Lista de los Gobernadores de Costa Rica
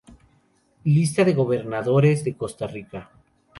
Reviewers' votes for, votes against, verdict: 0, 2, rejected